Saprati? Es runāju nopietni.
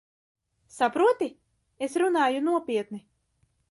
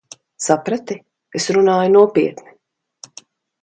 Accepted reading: second